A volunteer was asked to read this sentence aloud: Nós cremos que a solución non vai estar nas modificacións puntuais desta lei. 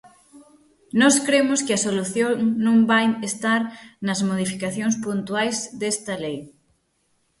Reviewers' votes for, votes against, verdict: 6, 0, accepted